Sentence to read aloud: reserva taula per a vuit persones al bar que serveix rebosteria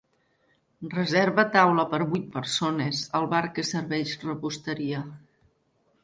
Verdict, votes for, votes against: rejected, 0, 2